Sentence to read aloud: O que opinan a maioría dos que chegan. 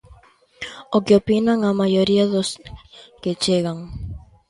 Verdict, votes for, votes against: rejected, 1, 2